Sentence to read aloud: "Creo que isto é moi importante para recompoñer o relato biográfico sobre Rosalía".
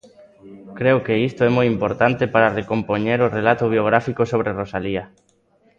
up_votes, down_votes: 1, 2